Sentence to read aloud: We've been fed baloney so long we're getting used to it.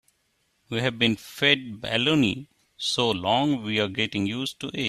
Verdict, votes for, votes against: rejected, 0, 2